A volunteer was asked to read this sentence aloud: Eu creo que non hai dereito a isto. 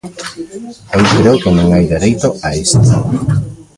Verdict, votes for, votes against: rejected, 0, 2